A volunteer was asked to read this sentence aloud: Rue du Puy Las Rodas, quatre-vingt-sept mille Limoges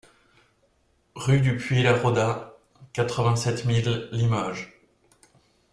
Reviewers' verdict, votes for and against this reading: rejected, 1, 2